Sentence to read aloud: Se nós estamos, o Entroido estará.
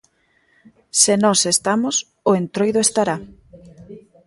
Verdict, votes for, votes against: accepted, 2, 0